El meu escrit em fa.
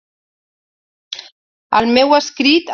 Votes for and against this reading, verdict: 0, 2, rejected